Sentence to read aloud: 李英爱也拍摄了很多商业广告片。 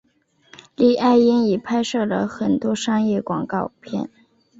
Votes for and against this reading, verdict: 1, 2, rejected